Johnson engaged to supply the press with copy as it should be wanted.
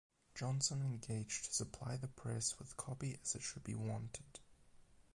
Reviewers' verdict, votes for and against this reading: accepted, 8, 0